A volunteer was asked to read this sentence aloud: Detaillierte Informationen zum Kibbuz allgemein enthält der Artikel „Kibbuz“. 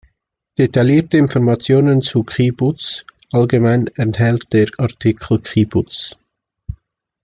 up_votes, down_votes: 1, 2